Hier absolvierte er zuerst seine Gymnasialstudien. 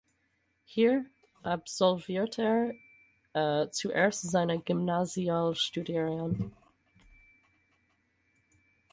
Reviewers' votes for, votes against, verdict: 0, 4, rejected